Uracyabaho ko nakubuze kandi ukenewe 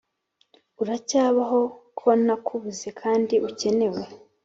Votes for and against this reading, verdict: 4, 0, accepted